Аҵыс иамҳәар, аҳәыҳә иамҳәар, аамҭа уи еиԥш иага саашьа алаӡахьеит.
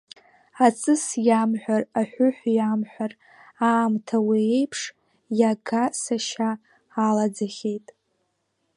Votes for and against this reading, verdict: 0, 2, rejected